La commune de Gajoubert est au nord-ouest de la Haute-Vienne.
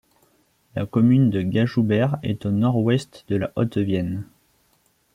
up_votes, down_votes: 2, 0